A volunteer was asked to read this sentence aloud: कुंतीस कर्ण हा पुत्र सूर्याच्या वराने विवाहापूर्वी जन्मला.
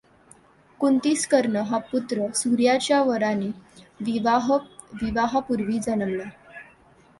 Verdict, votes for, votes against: rejected, 1, 2